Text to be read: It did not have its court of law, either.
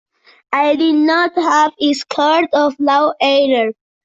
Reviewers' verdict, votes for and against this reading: rejected, 0, 2